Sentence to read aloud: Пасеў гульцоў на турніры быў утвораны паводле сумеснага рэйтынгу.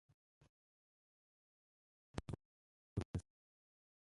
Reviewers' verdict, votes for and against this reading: rejected, 0, 2